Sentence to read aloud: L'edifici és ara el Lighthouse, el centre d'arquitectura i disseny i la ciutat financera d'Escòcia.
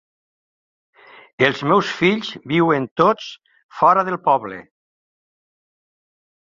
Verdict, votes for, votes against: rejected, 1, 2